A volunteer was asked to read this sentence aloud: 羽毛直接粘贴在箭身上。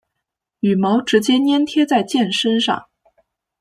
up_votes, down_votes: 1, 2